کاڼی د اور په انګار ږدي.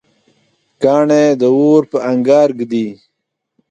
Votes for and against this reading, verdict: 2, 0, accepted